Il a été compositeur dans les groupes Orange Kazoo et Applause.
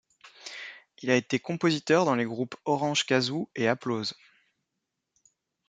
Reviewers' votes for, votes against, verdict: 2, 0, accepted